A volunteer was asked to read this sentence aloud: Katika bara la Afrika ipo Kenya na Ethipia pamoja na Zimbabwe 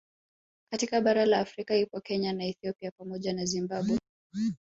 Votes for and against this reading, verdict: 2, 0, accepted